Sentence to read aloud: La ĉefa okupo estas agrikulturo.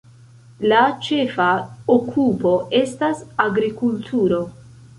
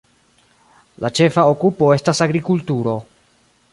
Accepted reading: first